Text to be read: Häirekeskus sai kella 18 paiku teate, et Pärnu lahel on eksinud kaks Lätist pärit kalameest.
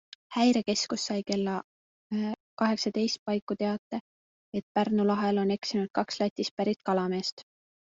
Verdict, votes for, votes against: rejected, 0, 2